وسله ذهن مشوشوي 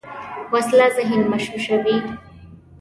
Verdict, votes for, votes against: accepted, 2, 0